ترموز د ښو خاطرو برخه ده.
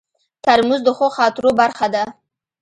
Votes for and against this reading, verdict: 1, 2, rejected